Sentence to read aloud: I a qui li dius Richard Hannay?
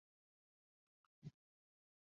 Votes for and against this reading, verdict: 0, 2, rejected